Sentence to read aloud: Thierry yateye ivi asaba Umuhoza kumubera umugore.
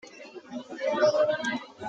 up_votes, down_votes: 0, 2